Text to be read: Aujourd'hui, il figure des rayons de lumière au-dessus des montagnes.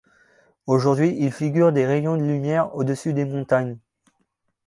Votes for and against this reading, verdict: 2, 0, accepted